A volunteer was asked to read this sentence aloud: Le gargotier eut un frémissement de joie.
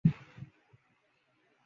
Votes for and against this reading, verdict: 1, 2, rejected